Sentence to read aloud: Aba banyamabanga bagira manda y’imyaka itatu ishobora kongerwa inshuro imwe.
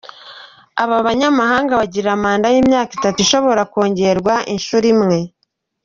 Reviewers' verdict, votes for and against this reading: rejected, 0, 2